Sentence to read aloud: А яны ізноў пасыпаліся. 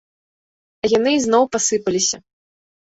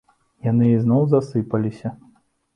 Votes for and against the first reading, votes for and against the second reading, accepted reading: 2, 0, 0, 2, first